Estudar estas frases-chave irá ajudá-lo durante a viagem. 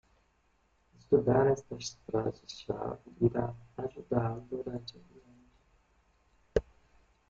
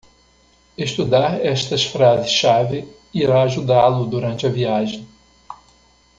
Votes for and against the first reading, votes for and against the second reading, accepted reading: 0, 2, 2, 0, second